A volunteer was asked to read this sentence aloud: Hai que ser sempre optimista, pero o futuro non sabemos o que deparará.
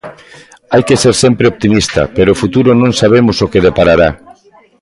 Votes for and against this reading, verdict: 1, 2, rejected